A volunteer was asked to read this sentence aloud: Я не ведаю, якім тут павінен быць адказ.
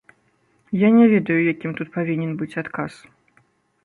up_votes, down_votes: 2, 0